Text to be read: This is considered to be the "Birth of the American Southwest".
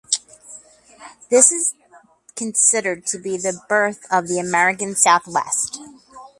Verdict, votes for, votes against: rejected, 2, 4